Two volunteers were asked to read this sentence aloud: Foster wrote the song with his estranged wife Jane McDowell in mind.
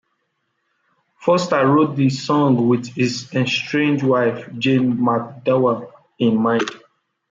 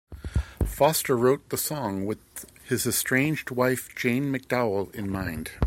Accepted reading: second